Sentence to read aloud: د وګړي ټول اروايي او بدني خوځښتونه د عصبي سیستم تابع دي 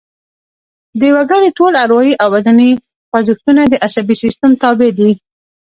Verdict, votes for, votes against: rejected, 0, 2